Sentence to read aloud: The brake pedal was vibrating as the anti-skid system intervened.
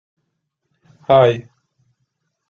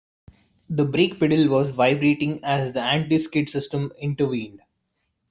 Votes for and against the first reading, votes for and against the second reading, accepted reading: 0, 2, 2, 0, second